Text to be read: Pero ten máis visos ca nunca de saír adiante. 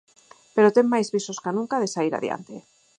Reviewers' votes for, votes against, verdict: 4, 0, accepted